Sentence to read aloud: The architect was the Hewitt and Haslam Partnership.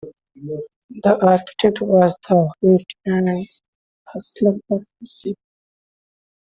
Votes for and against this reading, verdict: 2, 1, accepted